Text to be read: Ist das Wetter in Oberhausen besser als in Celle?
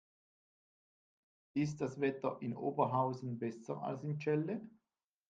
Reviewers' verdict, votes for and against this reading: rejected, 0, 2